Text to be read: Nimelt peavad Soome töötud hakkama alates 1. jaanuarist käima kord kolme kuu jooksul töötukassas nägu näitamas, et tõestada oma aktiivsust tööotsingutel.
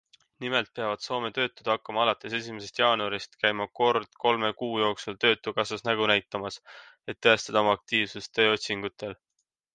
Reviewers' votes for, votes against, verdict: 0, 2, rejected